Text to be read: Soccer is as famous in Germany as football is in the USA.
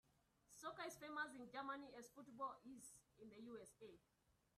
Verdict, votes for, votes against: rejected, 1, 2